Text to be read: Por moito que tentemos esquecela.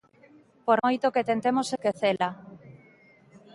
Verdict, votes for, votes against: rejected, 0, 2